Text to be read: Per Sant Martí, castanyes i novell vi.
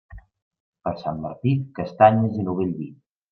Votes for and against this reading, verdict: 2, 0, accepted